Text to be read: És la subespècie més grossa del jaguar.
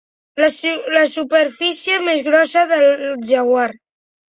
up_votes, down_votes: 0, 2